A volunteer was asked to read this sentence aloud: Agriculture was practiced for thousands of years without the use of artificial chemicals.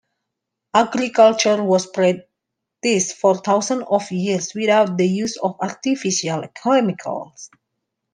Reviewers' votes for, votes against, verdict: 0, 2, rejected